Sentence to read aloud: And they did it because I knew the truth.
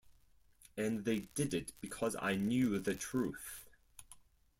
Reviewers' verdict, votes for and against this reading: accepted, 4, 0